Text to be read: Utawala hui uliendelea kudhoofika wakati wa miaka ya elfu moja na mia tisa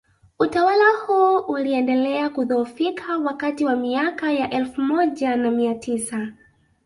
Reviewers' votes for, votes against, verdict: 1, 2, rejected